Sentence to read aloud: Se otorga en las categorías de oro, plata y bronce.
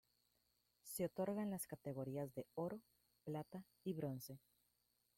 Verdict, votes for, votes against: rejected, 0, 2